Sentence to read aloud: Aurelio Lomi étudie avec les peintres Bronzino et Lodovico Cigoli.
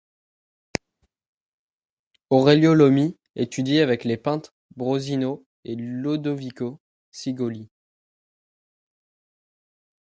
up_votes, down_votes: 1, 2